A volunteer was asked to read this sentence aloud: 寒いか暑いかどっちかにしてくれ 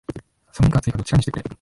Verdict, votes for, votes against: rejected, 0, 2